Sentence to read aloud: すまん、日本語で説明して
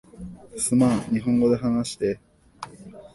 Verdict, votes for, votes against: rejected, 1, 2